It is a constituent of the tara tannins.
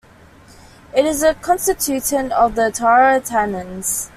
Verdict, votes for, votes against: rejected, 1, 2